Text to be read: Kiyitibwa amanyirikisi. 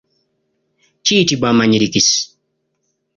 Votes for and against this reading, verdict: 2, 0, accepted